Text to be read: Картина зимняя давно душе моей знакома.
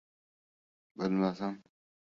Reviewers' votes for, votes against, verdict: 0, 2, rejected